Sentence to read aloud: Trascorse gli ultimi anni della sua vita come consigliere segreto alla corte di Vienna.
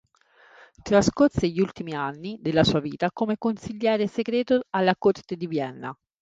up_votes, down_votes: 3, 0